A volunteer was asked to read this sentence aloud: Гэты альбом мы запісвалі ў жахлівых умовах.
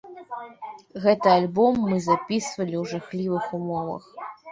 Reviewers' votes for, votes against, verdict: 1, 2, rejected